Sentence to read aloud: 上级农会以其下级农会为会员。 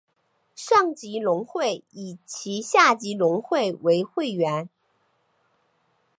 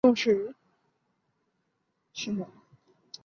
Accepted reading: first